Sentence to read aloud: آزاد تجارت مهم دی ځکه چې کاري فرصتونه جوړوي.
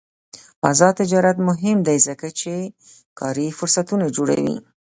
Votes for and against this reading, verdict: 2, 0, accepted